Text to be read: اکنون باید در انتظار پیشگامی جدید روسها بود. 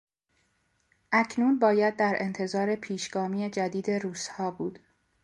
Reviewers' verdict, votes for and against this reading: accepted, 2, 0